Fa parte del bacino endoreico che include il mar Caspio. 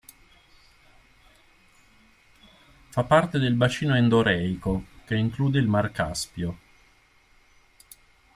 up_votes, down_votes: 2, 0